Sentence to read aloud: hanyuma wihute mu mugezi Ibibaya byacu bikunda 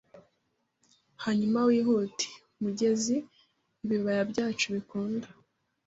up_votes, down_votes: 2, 0